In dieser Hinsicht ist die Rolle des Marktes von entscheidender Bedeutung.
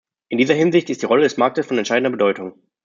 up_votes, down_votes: 2, 0